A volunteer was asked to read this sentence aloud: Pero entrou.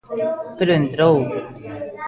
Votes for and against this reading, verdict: 2, 0, accepted